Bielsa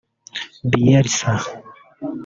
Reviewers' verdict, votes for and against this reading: rejected, 0, 2